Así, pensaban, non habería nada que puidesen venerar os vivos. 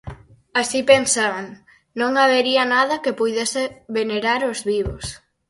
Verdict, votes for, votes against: rejected, 0, 4